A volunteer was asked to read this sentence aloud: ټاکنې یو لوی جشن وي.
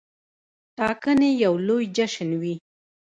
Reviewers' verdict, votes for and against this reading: rejected, 1, 2